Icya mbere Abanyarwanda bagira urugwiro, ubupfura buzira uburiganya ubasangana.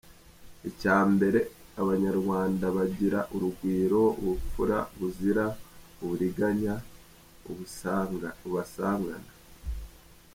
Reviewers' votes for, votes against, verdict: 0, 3, rejected